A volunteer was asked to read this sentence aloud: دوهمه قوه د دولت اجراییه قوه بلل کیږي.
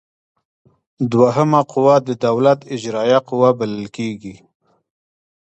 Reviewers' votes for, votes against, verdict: 2, 0, accepted